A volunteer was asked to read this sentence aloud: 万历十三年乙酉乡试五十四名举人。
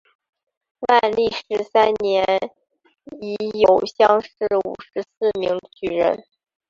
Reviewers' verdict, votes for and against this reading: rejected, 0, 3